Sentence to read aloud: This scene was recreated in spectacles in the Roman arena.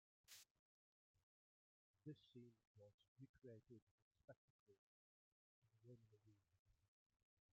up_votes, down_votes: 0, 2